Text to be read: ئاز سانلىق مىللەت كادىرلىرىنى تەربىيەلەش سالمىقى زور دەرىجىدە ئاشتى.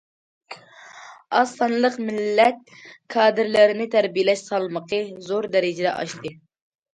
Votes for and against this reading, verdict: 2, 0, accepted